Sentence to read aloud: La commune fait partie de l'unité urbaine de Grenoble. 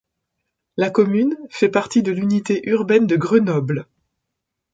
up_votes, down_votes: 2, 0